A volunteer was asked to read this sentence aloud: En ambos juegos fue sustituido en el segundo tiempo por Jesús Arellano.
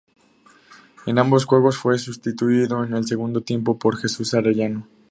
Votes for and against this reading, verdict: 2, 0, accepted